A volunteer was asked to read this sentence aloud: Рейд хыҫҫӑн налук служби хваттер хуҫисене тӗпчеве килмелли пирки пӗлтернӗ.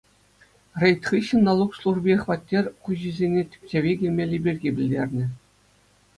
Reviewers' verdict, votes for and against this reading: accepted, 2, 0